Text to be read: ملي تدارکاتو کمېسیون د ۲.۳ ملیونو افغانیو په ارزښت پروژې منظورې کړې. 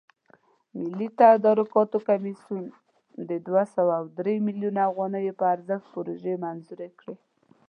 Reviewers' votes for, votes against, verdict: 0, 2, rejected